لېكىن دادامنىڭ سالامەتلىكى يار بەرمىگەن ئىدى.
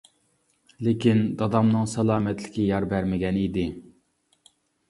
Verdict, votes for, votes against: accepted, 2, 0